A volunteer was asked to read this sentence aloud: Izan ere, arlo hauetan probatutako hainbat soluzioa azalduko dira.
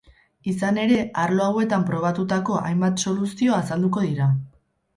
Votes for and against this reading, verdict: 0, 2, rejected